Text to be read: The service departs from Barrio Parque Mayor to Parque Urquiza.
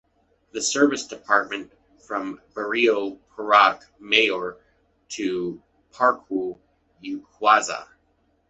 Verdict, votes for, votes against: rejected, 0, 2